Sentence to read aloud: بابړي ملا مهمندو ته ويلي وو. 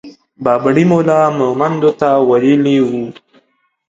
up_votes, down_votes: 2, 0